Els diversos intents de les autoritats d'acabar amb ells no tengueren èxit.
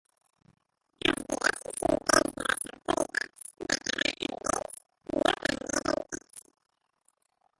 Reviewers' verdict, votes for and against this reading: rejected, 0, 2